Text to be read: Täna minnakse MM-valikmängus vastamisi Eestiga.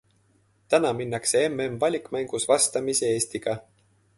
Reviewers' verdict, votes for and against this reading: accepted, 2, 0